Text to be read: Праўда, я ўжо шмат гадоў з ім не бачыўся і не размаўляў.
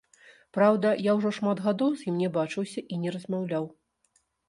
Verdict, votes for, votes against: rejected, 0, 2